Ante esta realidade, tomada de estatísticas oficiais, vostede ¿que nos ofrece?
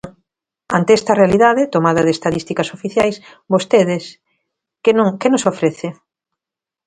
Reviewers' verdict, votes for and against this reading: rejected, 0, 2